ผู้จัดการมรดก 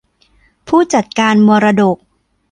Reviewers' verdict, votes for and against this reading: accepted, 2, 0